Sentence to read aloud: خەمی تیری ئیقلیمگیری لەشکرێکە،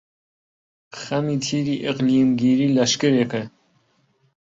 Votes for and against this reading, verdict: 2, 0, accepted